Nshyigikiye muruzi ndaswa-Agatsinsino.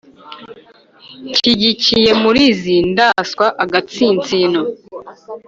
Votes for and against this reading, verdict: 1, 2, rejected